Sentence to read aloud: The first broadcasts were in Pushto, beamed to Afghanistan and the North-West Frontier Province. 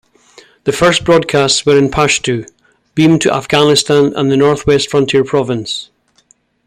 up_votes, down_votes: 2, 1